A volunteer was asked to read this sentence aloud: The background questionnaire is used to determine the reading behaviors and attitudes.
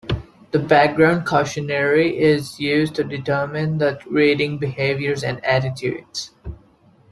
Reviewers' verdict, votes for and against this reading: rejected, 0, 2